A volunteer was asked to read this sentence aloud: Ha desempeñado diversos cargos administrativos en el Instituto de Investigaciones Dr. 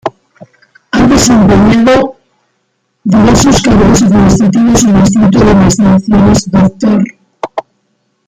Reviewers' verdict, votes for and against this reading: rejected, 0, 2